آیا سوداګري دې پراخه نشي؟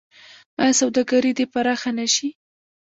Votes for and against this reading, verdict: 0, 2, rejected